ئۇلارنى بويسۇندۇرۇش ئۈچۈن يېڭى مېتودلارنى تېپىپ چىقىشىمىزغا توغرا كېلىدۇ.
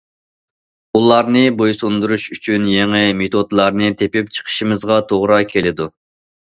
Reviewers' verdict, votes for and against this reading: accepted, 2, 0